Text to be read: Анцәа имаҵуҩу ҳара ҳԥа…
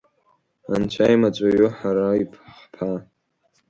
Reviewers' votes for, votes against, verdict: 0, 2, rejected